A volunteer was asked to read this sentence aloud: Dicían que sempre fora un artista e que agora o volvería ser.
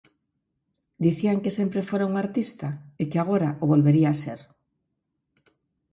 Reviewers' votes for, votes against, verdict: 4, 0, accepted